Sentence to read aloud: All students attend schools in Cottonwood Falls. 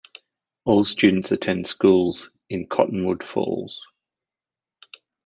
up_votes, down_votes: 2, 0